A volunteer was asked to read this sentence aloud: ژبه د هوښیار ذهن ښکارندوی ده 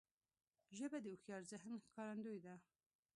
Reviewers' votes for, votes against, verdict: 1, 2, rejected